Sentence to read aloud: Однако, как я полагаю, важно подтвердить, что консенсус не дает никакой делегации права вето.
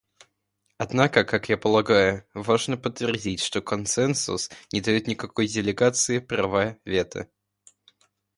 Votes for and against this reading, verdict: 2, 0, accepted